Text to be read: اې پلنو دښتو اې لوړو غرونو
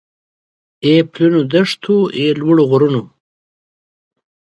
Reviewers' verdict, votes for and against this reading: accepted, 2, 1